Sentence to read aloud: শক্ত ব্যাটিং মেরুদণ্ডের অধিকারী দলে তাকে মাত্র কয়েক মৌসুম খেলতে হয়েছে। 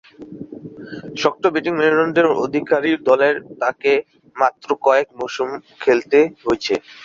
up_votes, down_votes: 0, 2